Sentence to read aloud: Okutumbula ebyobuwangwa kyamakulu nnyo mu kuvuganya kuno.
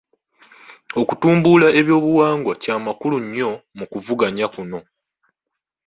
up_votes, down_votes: 2, 1